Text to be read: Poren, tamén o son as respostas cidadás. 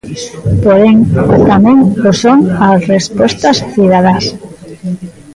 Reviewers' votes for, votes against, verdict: 1, 2, rejected